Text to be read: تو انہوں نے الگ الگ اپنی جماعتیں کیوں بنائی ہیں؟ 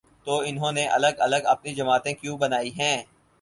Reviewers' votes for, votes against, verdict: 6, 0, accepted